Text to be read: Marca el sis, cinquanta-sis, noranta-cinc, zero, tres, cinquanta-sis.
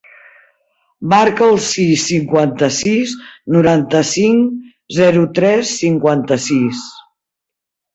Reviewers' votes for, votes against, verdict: 2, 0, accepted